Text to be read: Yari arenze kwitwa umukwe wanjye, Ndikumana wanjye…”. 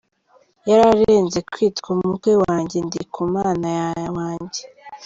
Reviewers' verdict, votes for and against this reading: rejected, 1, 2